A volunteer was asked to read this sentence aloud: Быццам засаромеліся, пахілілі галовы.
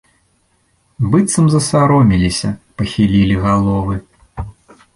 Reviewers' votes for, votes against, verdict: 2, 0, accepted